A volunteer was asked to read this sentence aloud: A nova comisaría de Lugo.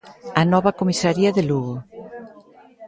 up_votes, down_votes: 2, 0